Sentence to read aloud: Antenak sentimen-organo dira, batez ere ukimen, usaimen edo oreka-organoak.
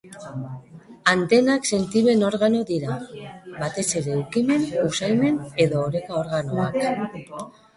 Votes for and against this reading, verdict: 1, 2, rejected